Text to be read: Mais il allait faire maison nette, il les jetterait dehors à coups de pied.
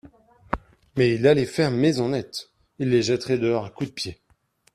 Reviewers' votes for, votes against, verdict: 2, 0, accepted